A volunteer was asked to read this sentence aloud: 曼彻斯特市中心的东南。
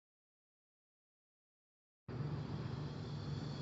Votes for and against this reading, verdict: 0, 3, rejected